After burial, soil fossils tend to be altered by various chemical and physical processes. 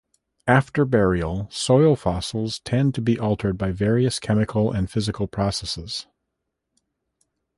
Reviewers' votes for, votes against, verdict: 2, 0, accepted